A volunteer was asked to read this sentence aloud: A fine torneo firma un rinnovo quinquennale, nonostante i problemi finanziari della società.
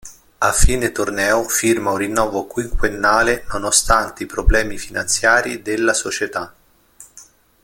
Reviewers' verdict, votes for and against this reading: accepted, 2, 0